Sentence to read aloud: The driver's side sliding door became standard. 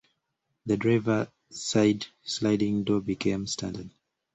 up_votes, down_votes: 0, 2